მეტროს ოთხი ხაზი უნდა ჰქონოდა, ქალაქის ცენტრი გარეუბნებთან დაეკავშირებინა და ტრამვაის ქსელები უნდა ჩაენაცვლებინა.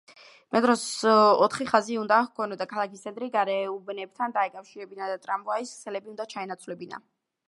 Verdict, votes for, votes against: rejected, 1, 2